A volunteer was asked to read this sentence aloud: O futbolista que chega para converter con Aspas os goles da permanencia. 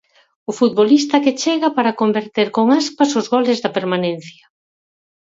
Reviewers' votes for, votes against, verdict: 4, 0, accepted